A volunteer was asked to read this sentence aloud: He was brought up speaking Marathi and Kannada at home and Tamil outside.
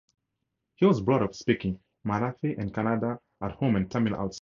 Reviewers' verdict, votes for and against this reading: rejected, 0, 2